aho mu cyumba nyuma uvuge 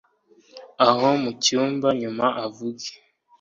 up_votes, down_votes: 1, 2